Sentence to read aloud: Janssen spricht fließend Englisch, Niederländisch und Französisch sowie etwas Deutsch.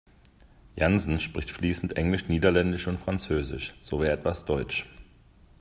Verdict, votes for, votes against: accepted, 2, 1